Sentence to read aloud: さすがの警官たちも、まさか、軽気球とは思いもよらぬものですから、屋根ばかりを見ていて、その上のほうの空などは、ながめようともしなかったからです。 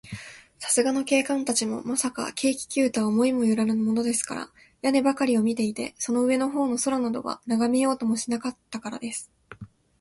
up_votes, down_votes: 20, 0